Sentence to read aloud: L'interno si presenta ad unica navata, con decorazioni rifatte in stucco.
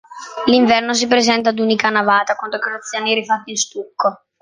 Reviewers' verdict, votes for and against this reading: rejected, 0, 2